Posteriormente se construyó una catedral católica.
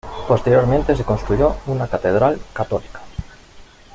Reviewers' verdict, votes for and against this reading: accepted, 2, 0